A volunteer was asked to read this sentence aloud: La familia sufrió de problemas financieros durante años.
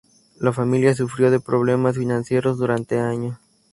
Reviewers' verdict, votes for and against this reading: accepted, 6, 0